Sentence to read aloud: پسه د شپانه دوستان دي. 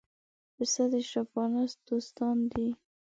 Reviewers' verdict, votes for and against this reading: accepted, 2, 0